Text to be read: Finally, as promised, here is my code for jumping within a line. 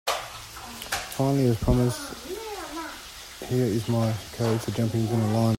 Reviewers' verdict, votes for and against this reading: rejected, 0, 2